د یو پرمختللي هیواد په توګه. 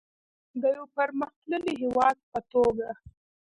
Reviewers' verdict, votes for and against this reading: accepted, 2, 0